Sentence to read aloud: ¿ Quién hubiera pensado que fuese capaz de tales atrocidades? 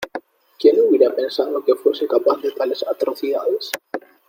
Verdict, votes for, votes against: accepted, 2, 0